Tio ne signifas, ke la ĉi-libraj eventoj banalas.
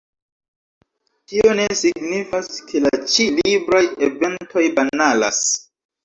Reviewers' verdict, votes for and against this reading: rejected, 1, 2